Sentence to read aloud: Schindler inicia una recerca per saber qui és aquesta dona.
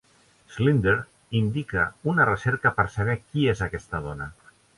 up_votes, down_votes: 0, 2